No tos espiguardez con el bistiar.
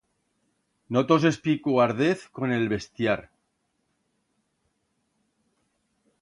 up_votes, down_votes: 1, 2